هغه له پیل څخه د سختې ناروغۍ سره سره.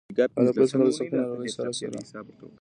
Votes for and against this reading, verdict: 1, 2, rejected